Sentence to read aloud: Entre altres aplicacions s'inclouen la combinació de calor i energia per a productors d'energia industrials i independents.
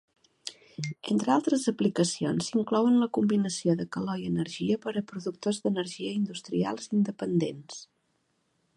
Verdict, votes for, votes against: accepted, 2, 0